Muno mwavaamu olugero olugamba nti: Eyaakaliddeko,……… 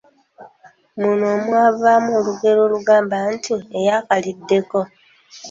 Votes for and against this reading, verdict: 2, 0, accepted